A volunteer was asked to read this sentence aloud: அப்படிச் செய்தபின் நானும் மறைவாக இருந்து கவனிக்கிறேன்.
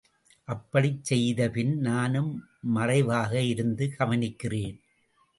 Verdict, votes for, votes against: accepted, 2, 0